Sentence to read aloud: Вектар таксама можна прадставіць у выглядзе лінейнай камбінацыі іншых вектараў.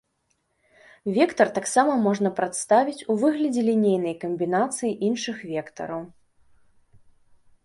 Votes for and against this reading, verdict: 5, 0, accepted